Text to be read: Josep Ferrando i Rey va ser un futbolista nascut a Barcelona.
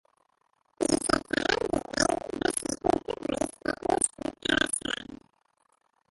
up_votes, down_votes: 0, 2